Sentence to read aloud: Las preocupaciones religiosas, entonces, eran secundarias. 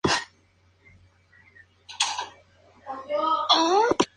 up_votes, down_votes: 2, 0